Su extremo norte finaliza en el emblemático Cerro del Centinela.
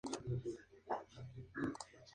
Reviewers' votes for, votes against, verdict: 0, 2, rejected